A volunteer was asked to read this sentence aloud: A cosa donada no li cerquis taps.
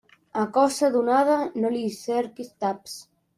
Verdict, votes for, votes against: rejected, 1, 2